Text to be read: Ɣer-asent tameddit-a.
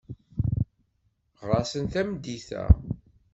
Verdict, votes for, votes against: rejected, 1, 2